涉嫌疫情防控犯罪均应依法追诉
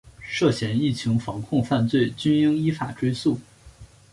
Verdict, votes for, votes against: accepted, 3, 0